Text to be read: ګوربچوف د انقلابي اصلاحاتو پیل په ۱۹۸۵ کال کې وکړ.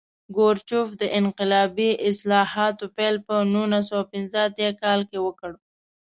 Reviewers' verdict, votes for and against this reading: rejected, 0, 2